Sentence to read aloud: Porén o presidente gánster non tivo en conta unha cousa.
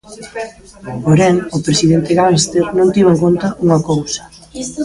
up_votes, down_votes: 0, 2